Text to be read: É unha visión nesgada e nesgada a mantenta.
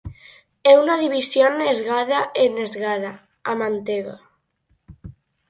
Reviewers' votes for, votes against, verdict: 0, 4, rejected